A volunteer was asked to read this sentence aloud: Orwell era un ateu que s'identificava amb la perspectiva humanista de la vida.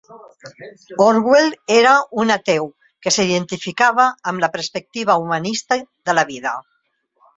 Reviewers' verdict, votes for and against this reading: rejected, 1, 2